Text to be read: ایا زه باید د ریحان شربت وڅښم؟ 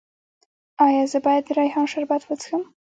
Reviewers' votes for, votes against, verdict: 2, 0, accepted